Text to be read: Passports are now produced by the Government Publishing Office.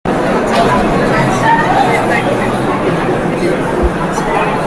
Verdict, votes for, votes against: rejected, 0, 2